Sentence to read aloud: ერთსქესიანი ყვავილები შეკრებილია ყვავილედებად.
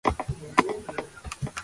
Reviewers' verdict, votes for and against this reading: rejected, 0, 3